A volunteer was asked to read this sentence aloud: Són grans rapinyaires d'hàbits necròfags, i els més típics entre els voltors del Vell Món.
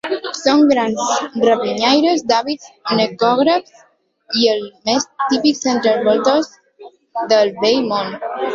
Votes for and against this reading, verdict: 0, 2, rejected